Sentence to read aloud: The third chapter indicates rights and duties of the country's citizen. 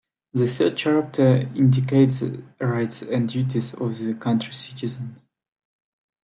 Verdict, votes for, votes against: accepted, 2, 0